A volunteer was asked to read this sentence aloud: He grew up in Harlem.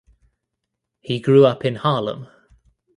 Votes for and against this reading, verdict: 2, 0, accepted